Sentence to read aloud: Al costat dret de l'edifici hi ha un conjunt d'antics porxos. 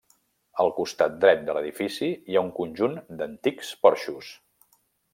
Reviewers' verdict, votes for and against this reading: accepted, 3, 0